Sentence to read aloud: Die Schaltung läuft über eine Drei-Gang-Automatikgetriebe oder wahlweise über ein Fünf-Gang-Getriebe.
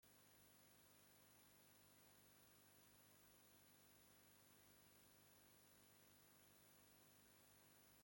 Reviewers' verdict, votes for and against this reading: rejected, 0, 2